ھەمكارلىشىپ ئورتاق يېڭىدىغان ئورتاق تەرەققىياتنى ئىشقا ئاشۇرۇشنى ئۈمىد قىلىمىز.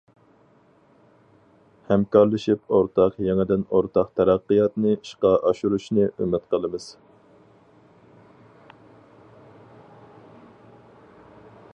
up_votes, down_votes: 0, 2